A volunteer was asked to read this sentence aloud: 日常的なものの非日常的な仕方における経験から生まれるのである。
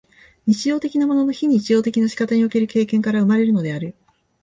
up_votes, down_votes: 2, 0